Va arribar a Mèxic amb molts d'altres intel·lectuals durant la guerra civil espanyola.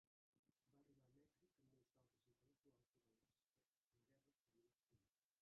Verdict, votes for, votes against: rejected, 0, 2